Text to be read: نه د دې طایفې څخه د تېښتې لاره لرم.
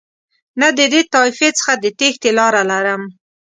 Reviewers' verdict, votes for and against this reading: accepted, 2, 0